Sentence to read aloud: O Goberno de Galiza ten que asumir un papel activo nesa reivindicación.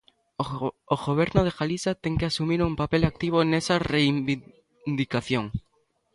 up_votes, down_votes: 0, 3